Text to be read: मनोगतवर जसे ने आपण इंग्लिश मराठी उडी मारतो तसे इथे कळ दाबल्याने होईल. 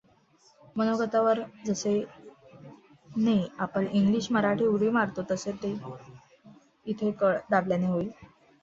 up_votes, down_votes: 1, 2